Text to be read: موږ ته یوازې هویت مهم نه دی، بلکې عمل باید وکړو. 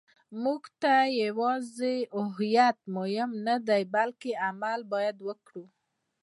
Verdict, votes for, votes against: accepted, 2, 0